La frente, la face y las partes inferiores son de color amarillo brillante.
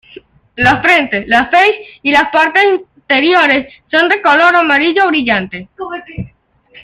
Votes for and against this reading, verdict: 0, 2, rejected